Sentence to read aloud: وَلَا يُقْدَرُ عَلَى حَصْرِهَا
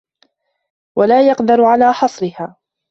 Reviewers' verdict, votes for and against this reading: rejected, 0, 2